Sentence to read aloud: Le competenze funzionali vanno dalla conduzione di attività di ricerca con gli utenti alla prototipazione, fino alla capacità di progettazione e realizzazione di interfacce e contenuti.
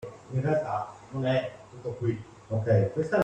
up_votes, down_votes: 0, 2